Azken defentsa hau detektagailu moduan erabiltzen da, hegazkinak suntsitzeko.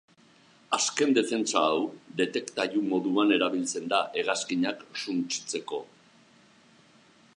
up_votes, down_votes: 0, 3